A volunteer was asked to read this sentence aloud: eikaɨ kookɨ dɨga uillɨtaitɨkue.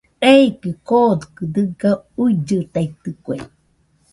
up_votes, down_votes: 0, 2